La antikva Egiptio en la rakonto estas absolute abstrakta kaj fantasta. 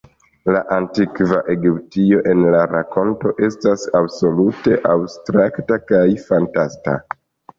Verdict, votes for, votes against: accepted, 2, 0